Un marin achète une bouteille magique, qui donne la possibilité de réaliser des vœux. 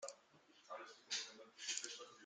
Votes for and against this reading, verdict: 0, 2, rejected